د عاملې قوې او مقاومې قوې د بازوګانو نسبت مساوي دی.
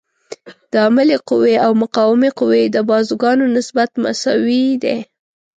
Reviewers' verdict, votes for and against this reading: accepted, 2, 0